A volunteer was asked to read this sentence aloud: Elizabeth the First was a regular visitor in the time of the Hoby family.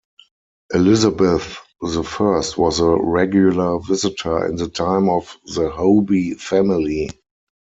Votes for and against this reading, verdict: 4, 0, accepted